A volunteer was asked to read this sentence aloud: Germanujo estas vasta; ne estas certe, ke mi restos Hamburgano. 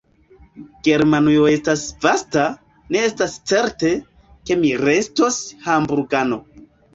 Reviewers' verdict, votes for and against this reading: accepted, 2, 1